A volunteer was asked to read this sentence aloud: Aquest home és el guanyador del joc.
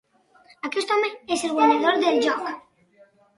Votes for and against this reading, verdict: 6, 9, rejected